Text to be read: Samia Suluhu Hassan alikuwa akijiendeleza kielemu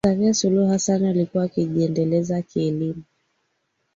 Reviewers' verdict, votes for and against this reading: accepted, 2, 0